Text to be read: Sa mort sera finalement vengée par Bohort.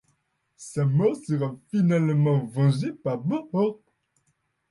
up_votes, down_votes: 0, 2